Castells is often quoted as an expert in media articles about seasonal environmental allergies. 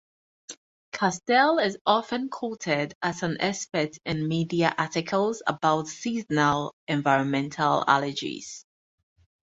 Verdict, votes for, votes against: rejected, 2, 2